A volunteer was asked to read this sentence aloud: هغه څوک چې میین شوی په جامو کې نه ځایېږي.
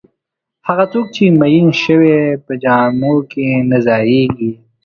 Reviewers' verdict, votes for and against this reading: accepted, 6, 1